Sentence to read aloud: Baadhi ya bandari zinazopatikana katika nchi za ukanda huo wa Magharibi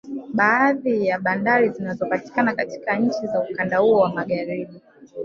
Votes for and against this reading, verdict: 2, 3, rejected